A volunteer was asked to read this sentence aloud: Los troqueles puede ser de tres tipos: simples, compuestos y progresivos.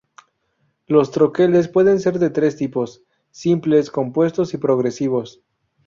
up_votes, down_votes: 2, 0